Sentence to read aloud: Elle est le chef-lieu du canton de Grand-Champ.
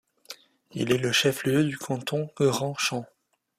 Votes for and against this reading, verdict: 1, 2, rejected